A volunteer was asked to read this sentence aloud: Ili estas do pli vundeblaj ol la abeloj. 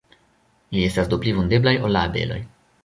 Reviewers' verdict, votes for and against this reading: accepted, 2, 1